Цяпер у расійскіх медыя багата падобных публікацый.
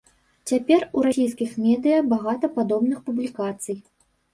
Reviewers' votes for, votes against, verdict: 2, 0, accepted